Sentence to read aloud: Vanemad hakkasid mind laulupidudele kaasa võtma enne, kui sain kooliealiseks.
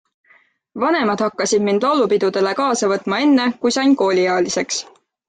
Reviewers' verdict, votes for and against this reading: accepted, 2, 0